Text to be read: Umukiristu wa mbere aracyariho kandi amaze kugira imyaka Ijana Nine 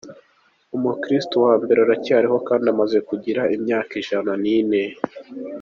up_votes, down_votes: 2, 0